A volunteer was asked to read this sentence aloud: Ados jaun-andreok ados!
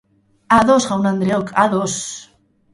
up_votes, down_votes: 6, 0